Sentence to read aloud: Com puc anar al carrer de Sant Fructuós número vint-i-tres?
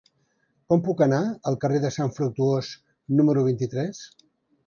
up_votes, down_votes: 3, 0